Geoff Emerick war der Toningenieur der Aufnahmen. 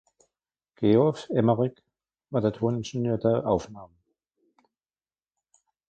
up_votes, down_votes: 1, 2